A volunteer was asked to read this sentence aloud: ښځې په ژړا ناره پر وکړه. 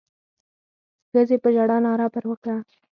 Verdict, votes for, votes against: rejected, 2, 4